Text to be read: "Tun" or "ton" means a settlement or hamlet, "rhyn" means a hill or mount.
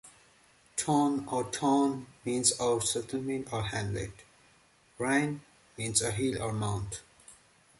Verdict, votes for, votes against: accepted, 2, 0